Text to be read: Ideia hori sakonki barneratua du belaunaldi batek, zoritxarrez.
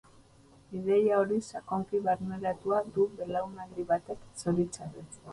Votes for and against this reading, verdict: 2, 0, accepted